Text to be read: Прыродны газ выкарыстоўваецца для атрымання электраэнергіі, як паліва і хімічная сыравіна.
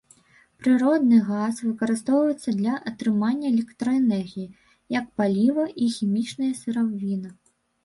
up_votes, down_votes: 1, 2